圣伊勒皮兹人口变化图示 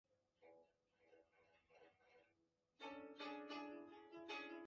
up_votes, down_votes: 1, 6